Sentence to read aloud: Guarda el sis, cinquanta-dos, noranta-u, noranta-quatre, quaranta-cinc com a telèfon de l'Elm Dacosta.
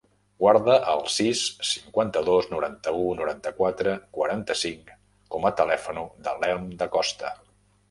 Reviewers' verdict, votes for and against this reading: rejected, 0, 2